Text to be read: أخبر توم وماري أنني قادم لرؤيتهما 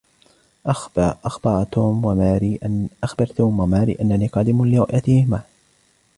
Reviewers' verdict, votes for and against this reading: rejected, 1, 2